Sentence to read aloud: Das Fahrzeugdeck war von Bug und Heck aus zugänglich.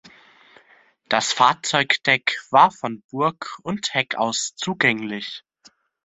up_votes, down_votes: 0, 2